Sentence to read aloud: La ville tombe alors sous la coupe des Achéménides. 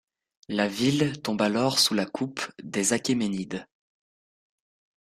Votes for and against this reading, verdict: 2, 0, accepted